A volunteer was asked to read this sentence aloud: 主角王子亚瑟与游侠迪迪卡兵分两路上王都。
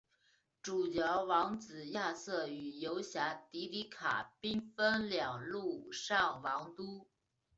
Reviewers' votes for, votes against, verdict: 2, 0, accepted